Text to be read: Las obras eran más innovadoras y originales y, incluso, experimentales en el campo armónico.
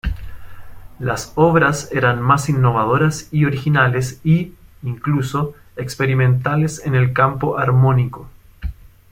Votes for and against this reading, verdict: 2, 0, accepted